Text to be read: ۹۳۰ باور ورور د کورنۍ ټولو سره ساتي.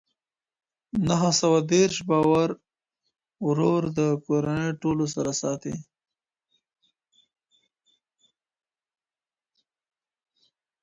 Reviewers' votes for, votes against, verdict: 0, 2, rejected